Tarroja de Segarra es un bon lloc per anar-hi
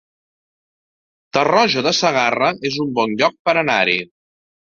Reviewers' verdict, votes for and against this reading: accepted, 2, 0